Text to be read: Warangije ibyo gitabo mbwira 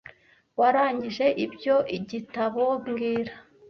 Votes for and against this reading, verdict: 0, 2, rejected